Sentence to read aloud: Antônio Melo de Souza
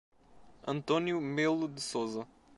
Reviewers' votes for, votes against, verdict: 3, 1, accepted